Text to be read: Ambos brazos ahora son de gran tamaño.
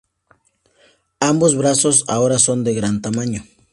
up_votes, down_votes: 2, 0